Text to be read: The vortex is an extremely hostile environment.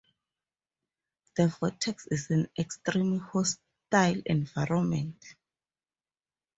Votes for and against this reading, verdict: 2, 2, rejected